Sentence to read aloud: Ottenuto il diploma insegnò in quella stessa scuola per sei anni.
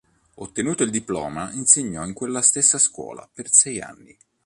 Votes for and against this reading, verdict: 2, 0, accepted